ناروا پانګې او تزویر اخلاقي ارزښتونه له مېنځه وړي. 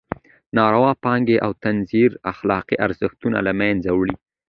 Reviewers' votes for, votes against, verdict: 2, 0, accepted